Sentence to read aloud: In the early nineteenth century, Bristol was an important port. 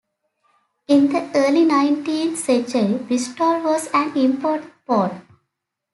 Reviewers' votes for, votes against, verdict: 1, 2, rejected